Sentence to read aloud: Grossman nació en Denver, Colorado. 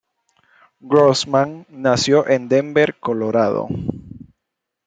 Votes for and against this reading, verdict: 2, 0, accepted